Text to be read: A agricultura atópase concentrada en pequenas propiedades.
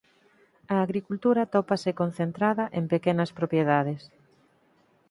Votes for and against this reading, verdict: 4, 0, accepted